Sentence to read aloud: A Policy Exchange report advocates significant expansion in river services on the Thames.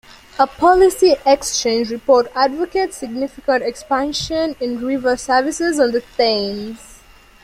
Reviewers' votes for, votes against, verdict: 4, 3, accepted